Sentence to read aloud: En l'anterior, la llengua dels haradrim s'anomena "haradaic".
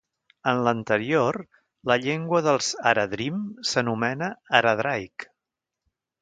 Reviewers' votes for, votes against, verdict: 1, 2, rejected